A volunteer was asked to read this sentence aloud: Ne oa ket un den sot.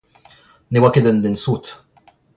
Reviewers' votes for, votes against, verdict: 2, 0, accepted